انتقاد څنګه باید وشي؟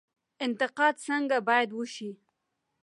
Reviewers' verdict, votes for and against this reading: accepted, 2, 0